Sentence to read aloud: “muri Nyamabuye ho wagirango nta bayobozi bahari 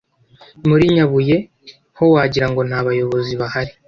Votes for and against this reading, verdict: 0, 2, rejected